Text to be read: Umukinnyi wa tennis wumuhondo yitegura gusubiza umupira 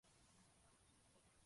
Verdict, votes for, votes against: rejected, 0, 2